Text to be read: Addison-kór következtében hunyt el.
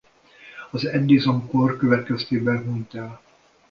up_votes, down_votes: 0, 2